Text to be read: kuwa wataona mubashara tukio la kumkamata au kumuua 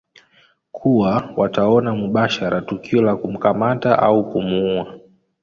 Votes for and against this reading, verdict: 2, 0, accepted